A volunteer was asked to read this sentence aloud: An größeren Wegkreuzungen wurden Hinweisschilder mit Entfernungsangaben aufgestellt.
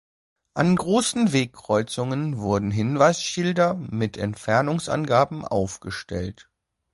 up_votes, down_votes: 2, 0